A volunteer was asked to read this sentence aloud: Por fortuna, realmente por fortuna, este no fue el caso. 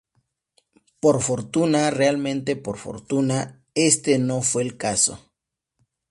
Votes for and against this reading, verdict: 2, 0, accepted